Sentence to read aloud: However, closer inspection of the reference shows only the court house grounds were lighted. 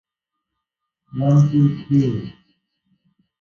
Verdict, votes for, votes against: rejected, 0, 2